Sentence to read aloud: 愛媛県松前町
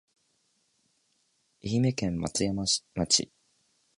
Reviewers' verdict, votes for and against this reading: rejected, 0, 3